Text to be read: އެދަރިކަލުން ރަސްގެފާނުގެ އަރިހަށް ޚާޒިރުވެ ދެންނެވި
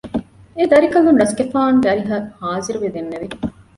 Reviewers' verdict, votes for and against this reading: accepted, 2, 0